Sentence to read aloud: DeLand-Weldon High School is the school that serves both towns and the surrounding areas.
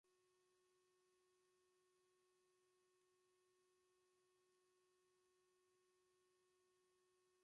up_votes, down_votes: 0, 2